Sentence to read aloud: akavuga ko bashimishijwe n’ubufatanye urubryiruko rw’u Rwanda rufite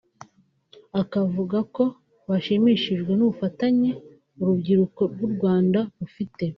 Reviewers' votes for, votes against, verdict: 1, 2, rejected